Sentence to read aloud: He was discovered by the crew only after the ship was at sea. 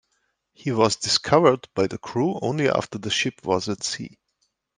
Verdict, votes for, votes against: accepted, 2, 1